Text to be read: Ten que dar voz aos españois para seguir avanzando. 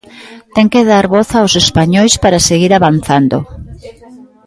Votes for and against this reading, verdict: 2, 1, accepted